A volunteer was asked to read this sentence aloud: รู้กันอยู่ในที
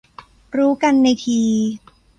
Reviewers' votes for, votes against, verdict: 0, 2, rejected